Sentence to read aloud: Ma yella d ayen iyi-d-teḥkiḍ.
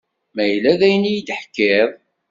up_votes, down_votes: 2, 0